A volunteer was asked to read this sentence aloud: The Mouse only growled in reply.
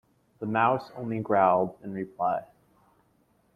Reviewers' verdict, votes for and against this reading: accepted, 2, 0